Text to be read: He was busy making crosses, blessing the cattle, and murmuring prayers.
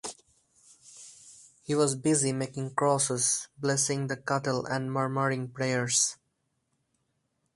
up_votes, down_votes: 4, 0